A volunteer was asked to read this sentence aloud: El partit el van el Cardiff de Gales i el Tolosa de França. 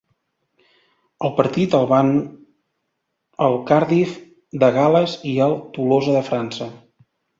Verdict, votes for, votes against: accepted, 2, 0